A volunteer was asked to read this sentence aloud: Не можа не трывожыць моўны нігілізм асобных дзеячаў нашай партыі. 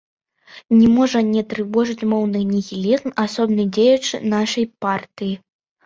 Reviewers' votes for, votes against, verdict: 1, 2, rejected